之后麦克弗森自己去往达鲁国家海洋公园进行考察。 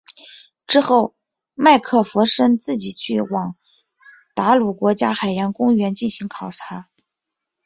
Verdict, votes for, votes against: accepted, 2, 0